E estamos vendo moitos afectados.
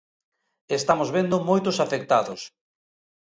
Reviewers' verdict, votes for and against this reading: accepted, 2, 1